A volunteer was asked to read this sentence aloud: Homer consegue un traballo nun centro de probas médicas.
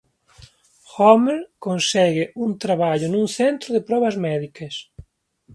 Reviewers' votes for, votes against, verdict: 2, 0, accepted